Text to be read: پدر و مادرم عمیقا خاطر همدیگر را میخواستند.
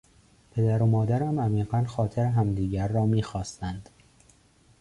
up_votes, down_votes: 2, 0